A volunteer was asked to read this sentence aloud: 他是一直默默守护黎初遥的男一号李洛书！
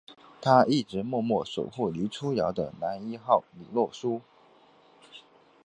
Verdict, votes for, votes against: rejected, 2, 3